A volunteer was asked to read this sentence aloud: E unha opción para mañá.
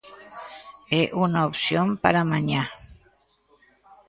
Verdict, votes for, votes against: rejected, 1, 2